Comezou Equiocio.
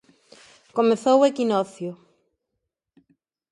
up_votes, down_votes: 0, 2